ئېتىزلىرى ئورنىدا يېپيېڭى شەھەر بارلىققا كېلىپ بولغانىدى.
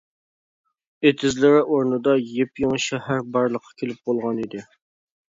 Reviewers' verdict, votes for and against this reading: accepted, 2, 0